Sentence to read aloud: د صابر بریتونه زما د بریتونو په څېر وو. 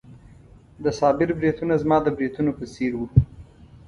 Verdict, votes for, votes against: accepted, 2, 0